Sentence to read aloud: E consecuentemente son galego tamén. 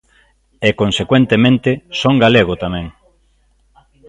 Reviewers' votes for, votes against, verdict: 2, 0, accepted